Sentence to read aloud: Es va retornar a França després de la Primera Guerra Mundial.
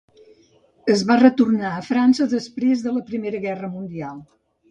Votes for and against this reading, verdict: 2, 0, accepted